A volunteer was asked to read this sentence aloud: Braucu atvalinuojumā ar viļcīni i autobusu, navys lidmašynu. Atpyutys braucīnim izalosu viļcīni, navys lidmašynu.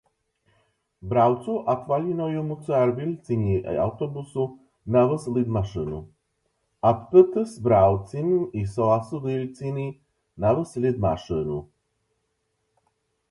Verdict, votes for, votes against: rejected, 0, 2